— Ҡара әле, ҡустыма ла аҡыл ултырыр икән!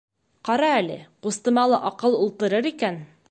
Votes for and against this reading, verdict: 1, 2, rejected